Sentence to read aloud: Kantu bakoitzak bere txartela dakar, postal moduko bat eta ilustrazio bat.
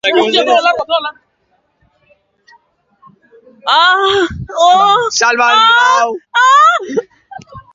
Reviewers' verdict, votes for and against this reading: rejected, 0, 2